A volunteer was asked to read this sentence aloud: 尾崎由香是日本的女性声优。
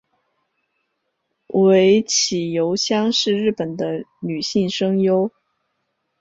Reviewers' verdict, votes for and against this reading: accepted, 5, 0